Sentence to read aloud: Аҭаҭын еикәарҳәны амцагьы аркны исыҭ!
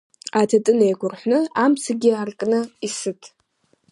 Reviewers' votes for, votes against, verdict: 2, 1, accepted